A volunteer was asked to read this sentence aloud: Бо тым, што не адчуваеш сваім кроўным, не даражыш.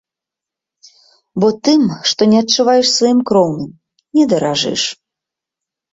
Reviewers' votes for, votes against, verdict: 3, 0, accepted